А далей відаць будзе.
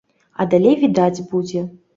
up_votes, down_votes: 3, 0